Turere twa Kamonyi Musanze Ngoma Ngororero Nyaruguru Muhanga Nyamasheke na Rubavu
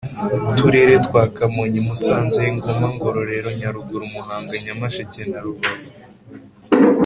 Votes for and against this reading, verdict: 2, 0, accepted